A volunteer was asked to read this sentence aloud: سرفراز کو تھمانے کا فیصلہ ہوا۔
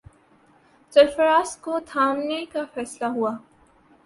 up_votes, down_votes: 0, 2